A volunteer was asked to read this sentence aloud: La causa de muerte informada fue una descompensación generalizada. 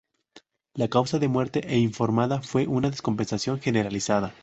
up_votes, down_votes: 0, 2